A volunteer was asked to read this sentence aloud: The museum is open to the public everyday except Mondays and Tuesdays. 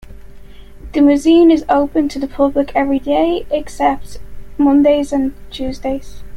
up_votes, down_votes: 3, 0